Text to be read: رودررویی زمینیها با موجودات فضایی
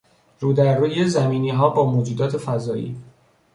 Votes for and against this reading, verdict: 1, 2, rejected